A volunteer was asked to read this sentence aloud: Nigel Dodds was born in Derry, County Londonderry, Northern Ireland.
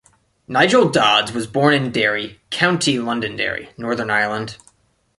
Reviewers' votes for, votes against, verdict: 1, 2, rejected